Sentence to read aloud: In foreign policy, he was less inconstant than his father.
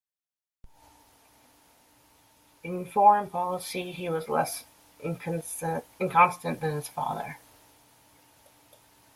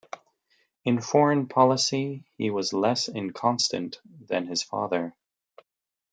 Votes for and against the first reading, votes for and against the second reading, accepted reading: 0, 2, 2, 0, second